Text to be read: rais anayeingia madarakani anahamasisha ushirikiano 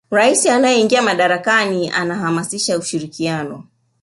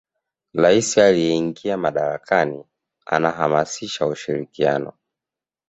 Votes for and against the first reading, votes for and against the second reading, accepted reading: 1, 2, 2, 0, second